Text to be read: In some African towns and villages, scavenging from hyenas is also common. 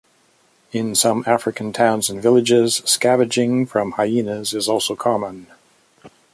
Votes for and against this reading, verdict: 2, 0, accepted